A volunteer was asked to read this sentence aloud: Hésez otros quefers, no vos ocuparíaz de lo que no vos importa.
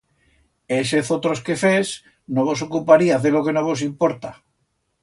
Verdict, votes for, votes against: accepted, 2, 0